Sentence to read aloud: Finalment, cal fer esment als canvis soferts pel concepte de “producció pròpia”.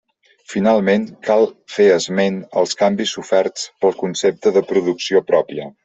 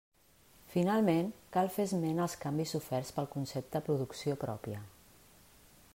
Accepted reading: first